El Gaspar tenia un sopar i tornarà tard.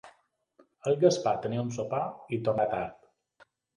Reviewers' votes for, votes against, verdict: 1, 2, rejected